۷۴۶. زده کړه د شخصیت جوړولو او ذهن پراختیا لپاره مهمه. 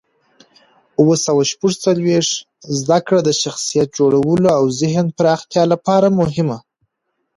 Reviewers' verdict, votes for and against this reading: rejected, 0, 2